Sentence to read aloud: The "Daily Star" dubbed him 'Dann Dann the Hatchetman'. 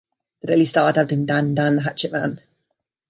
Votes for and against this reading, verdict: 0, 2, rejected